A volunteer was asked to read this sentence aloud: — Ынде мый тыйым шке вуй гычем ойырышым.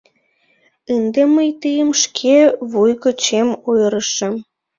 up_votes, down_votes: 0, 2